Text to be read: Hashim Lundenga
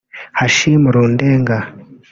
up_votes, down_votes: 1, 2